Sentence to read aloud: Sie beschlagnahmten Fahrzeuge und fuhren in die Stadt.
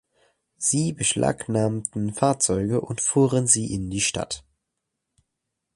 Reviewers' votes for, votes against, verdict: 1, 2, rejected